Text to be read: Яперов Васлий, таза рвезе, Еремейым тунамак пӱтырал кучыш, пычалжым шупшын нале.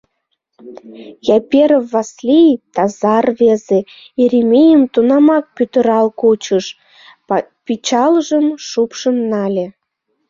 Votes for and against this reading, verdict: 1, 2, rejected